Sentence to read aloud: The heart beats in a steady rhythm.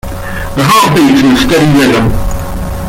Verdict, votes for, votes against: rejected, 0, 2